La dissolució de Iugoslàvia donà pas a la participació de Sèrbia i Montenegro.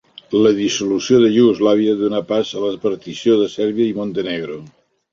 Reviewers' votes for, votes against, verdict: 1, 2, rejected